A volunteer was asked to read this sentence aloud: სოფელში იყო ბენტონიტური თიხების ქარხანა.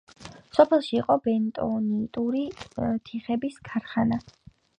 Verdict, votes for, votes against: accepted, 2, 0